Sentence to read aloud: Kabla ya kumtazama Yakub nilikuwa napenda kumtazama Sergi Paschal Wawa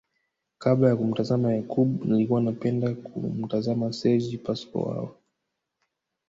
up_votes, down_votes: 3, 0